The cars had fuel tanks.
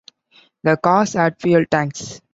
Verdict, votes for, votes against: accepted, 2, 1